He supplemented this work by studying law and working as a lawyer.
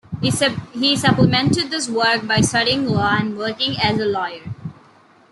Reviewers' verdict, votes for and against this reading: rejected, 1, 2